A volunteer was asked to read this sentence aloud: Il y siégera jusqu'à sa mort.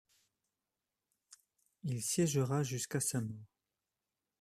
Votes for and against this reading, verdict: 0, 2, rejected